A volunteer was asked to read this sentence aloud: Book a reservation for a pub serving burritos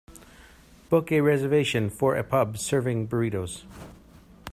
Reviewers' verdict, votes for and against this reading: accepted, 2, 1